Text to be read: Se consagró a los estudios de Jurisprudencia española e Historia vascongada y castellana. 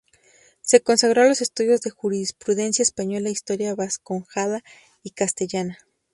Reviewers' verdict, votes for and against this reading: accepted, 2, 0